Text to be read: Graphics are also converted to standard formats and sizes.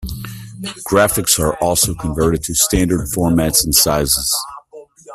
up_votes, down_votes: 0, 2